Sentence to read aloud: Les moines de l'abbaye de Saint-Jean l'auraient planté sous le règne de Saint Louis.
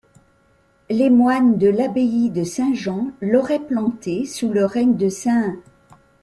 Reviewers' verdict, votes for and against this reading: rejected, 1, 2